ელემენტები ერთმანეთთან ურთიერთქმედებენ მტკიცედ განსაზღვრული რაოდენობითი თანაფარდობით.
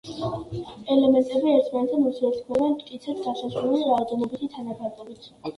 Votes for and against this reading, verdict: 2, 1, accepted